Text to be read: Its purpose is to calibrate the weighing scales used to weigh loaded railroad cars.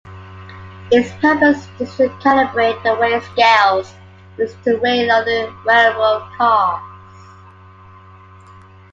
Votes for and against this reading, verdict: 0, 2, rejected